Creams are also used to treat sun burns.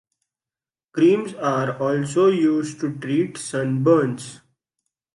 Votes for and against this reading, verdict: 2, 0, accepted